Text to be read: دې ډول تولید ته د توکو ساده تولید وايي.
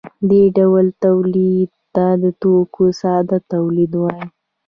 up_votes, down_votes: 2, 0